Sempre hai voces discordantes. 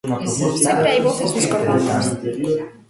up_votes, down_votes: 0, 2